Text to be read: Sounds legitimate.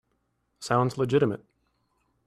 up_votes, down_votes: 3, 0